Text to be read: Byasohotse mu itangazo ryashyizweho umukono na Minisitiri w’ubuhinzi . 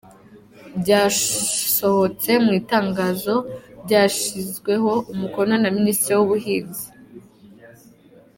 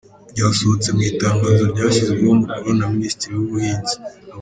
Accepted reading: first